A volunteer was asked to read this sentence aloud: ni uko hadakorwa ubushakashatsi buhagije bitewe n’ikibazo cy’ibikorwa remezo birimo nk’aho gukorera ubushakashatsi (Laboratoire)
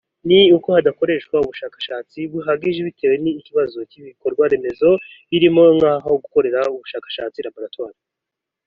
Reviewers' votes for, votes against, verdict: 3, 1, accepted